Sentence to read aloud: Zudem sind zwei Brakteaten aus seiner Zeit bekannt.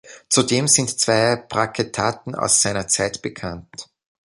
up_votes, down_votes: 0, 2